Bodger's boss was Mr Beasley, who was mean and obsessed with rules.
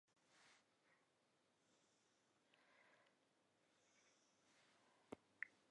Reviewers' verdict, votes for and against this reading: rejected, 0, 2